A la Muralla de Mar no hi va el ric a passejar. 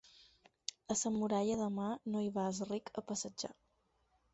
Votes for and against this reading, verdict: 4, 0, accepted